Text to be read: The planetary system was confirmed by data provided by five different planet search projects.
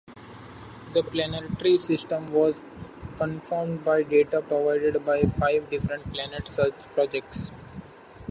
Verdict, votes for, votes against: accepted, 2, 0